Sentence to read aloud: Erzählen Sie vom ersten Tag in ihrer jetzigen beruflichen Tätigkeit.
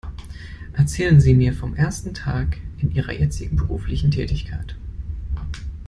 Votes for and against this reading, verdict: 0, 2, rejected